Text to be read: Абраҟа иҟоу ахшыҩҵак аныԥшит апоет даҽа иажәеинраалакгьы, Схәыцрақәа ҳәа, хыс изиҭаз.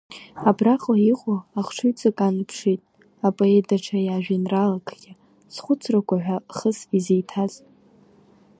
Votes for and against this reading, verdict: 2, 0, accepted